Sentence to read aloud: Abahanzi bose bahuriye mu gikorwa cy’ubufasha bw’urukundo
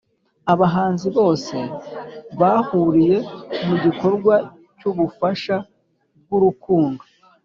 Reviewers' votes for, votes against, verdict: 2, 0, accepted